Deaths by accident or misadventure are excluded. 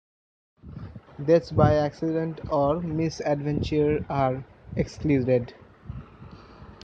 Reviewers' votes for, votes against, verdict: 0, 2, rejected